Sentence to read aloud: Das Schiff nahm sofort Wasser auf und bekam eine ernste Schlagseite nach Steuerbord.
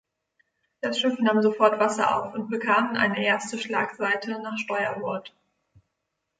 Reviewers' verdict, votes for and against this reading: rejected, 1, 2